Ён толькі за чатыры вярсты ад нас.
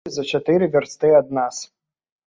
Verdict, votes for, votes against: rejected, 1, 2